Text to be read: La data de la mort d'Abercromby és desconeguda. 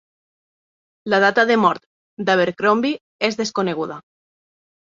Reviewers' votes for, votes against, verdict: 0, 2, rejected